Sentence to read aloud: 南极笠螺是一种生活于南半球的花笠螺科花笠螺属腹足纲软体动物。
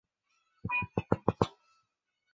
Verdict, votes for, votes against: rejected, 0, 2